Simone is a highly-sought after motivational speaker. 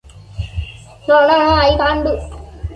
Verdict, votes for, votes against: rejected, 0, 2